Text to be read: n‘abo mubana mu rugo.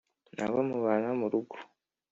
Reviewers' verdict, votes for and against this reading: accepted, 3, 0